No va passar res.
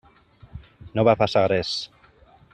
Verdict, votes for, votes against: accepted, 3, 0